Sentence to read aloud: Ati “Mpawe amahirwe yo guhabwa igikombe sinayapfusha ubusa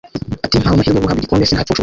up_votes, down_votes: 0, 2